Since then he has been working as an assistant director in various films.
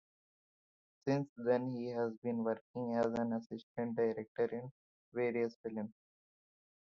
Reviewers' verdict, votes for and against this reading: rejected, 0, 2